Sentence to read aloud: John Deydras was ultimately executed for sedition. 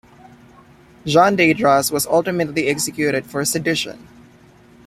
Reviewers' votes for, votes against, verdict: 2, 0, accepted